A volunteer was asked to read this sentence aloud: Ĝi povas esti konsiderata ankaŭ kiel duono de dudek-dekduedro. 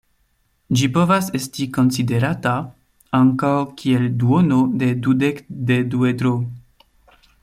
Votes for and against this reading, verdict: 1, 2, rejected